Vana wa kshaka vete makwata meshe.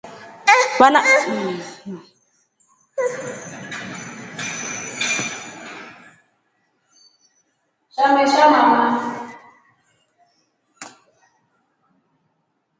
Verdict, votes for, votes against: rejected, 0, 2